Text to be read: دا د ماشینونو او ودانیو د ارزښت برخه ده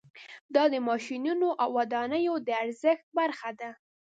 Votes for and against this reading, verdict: 2, 0, accepted